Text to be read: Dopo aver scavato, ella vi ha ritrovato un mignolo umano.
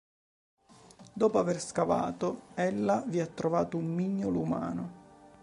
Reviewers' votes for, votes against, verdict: 2, 3, rejected